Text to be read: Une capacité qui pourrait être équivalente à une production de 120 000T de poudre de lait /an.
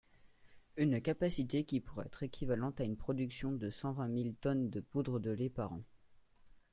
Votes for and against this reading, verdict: 0, 2, rejected